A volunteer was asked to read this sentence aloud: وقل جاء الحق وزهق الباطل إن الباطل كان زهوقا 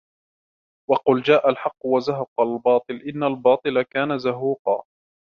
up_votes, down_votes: 2, 0